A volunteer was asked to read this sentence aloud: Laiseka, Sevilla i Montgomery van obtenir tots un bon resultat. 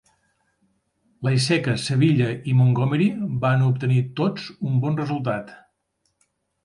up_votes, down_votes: 3, 0